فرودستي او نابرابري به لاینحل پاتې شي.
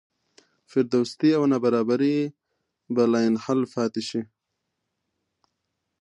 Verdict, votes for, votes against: accepted, 2, 0